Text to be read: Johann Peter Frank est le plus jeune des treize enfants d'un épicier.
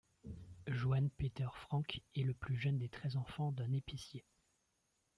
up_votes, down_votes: 0, 2